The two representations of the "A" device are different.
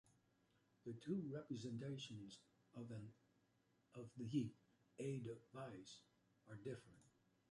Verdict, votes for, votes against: rejected, 0, 2